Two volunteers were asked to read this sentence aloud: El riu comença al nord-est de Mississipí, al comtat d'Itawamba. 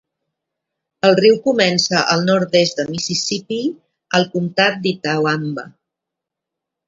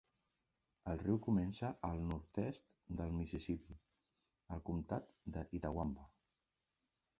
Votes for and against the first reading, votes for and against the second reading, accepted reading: 2, 0, 0, 2, first